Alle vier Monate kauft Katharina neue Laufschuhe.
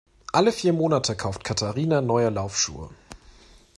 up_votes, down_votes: 2, 0